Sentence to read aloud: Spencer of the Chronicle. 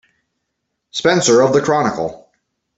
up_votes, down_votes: 2, 0